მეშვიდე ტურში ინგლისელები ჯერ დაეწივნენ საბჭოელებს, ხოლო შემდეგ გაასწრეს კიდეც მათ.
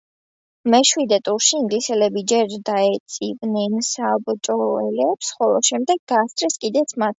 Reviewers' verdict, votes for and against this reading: accepted, 2, 0